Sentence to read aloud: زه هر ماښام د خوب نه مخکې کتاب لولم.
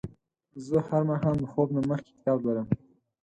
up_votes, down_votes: 4, 0